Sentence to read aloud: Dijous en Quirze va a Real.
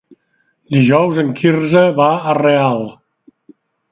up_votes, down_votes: 3, 0